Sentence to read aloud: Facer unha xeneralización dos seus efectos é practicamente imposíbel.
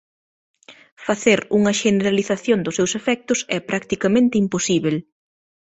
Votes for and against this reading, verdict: 2, 0, accepted